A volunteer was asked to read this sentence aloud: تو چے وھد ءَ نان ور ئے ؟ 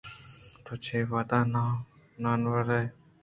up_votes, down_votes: 1, 2